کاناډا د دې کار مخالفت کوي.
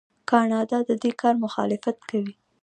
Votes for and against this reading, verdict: 2, 0, accepted